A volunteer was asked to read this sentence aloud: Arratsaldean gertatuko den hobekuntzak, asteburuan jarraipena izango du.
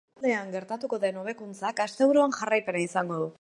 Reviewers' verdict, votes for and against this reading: rejected, 1, 2